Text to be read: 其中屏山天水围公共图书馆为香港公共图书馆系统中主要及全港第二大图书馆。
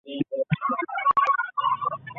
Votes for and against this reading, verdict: 0, 2, rejected